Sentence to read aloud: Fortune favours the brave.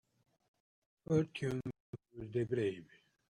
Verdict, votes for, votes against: rejected, 1, 2